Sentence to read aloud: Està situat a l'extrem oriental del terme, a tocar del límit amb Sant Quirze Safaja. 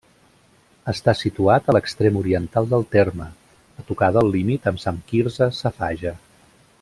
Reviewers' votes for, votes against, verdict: 3, 0, accepted